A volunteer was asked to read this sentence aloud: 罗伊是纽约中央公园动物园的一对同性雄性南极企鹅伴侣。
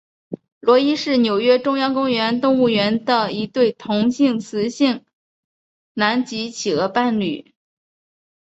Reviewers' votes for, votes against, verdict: 5, 1, accepted